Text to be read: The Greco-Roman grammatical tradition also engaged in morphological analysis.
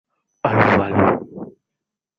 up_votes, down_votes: 0, 2